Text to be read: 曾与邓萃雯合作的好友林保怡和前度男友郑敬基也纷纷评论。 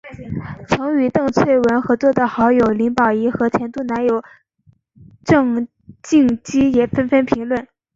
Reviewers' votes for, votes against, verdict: 2, 1, accepted